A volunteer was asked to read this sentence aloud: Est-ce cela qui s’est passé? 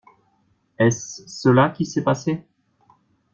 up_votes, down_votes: 2, 0